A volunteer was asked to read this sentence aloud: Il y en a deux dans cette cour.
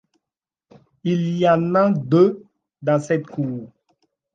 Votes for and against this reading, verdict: 2, 0, accepted